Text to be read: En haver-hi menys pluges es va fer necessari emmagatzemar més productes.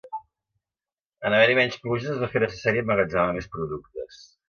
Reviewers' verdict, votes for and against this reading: rejected, 1, 2